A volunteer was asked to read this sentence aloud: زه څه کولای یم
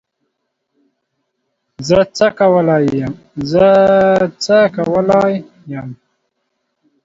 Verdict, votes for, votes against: rejected, 0, 2